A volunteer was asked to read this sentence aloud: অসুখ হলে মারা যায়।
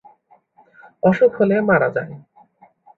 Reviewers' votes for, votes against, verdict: 2, 0, accepted